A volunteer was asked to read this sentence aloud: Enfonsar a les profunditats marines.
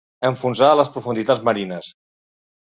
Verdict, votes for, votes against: accepted, 2, 0